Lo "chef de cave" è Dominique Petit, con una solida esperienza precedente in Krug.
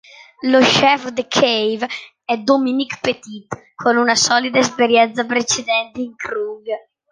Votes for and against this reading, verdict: 2, 0, accepted